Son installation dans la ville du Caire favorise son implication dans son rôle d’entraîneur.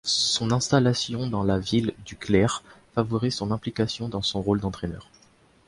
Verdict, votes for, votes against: rejected, 1, 2